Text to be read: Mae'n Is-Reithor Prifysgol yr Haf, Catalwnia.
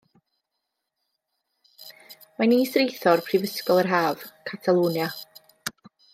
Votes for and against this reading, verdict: 2, 1, accepted